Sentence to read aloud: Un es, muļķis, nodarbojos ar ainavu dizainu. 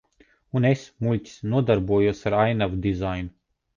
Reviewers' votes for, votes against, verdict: 2, 0, accepted